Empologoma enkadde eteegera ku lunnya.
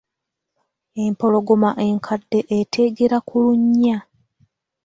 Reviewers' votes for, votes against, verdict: 2, 0, accepted